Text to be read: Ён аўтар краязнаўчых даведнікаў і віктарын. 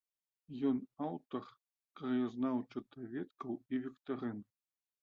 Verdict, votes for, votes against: rejected, 0, 2